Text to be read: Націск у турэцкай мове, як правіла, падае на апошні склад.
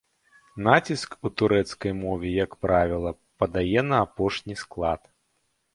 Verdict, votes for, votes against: rejected, 0, 2